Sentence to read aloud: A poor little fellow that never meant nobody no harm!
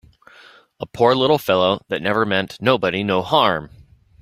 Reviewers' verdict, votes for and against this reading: accepted, 2, 0